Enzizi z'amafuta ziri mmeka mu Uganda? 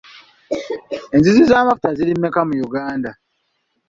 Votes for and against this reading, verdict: 3, 0, accepted